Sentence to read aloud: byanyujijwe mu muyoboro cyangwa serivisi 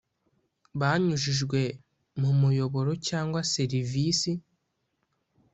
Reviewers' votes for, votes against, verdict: 0, 2, rejected